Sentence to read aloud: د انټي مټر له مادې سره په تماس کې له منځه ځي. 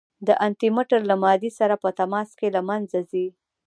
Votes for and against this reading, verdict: 2, 0, accepted